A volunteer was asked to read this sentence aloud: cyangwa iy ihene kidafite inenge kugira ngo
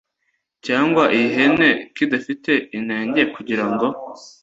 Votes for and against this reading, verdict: 2, 0, accepted